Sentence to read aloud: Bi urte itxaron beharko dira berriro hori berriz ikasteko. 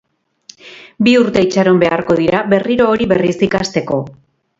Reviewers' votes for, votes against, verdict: 2, 2, rejected